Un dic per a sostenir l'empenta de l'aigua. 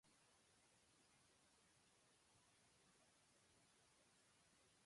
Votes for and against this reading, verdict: 1, 2, rejected